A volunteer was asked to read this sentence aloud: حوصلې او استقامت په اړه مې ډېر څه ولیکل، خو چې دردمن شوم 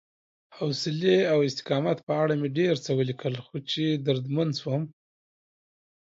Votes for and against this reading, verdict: 2, 0, accepted